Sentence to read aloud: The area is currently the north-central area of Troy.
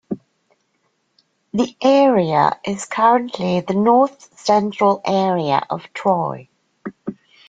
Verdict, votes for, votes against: accepted, 2, 0